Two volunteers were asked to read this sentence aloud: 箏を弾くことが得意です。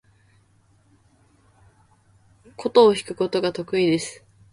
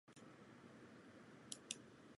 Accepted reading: first